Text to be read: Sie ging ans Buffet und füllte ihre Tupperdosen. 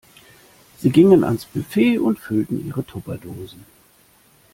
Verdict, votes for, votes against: rejected, 1, 2